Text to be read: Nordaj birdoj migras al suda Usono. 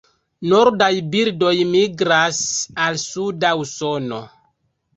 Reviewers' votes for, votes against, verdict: 2, 0, accepted